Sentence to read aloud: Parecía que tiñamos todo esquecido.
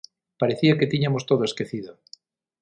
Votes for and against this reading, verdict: 3, 6, rejected